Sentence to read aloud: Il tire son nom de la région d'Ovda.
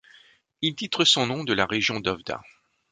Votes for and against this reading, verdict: 0, 2, rejected